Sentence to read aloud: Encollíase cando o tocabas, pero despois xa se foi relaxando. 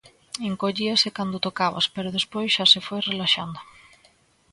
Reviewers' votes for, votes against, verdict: 2, 0, accepted